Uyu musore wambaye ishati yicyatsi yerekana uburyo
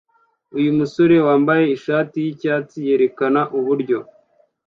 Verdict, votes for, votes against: accepted, 2, 0